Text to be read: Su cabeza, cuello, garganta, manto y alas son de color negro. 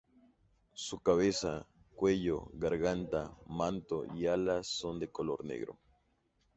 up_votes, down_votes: 2, 0